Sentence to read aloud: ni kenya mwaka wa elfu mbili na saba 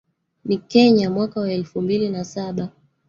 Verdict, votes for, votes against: rejected, 1, 2